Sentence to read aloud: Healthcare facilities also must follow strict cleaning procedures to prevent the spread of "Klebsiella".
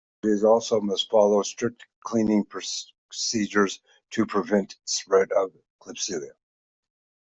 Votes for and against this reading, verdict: 0, 2, rejected